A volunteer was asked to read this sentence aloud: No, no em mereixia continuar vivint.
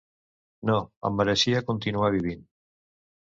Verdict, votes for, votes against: rejected, 0, 2